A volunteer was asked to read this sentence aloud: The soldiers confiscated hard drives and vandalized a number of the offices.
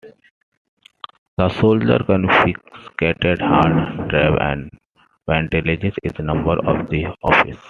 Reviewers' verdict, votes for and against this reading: accepted, 2, 1